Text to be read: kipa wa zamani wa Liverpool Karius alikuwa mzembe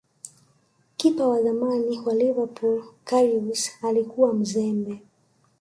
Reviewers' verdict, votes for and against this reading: rejected, 1, 2